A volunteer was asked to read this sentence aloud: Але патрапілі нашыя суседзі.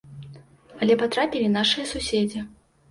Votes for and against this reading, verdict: 2, 0, accepted